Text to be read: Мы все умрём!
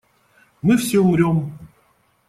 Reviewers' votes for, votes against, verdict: 2, 0, accepted